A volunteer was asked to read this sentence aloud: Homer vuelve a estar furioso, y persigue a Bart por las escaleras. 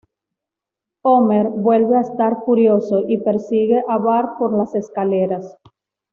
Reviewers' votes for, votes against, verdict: 2, 0, accepted